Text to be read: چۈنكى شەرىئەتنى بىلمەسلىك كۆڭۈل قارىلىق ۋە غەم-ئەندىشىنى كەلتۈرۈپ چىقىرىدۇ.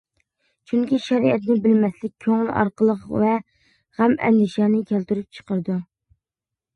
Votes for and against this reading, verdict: 0, 2, rejected